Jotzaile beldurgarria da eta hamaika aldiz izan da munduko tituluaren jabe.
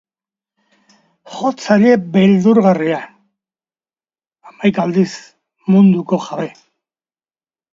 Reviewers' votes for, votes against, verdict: 1, 2, rejected